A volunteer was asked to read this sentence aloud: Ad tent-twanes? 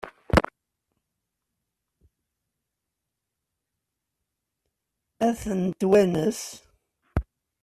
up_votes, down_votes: 1, 2